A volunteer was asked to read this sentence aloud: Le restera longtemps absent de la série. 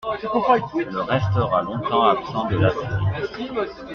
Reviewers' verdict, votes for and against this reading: accepted, 2, 1